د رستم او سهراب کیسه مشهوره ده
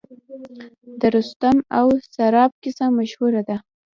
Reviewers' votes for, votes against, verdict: 1, 2, rejected